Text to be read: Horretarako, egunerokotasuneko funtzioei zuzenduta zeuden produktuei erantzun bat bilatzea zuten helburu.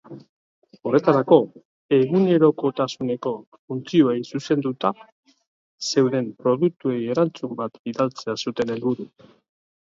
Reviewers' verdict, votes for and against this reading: rejected, 1, 2